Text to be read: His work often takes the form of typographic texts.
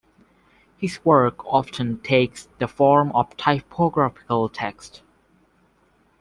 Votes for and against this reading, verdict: 0, 2, rejected